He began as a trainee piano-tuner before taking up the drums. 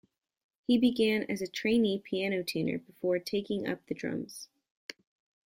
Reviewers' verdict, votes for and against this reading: rejected, 1, 2